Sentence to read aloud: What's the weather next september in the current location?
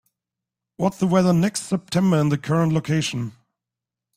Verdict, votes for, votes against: accepted, 2, 0